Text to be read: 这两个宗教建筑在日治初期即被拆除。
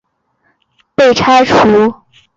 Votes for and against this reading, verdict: 0, 3, rejected